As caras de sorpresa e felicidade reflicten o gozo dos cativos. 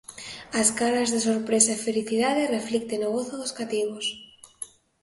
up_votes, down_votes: 3, 0